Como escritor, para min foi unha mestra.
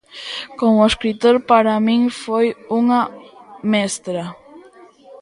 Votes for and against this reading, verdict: 2, 0, accepted